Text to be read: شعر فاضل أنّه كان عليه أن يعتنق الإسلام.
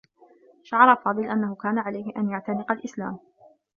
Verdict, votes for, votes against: accepted, 2, 0